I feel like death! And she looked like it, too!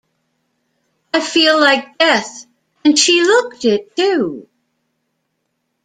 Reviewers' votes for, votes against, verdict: 1, 2, rejected